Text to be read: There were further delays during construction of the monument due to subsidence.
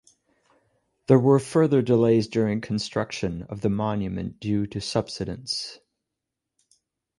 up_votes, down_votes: 2, 0